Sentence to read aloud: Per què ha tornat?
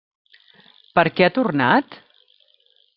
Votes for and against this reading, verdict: 3, 0, accepted